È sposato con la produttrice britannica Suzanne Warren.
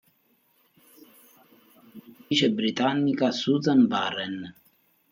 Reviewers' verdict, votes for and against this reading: rejected, 0, 2